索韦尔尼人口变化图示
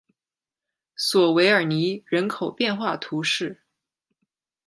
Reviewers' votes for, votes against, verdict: 2, 0, accepted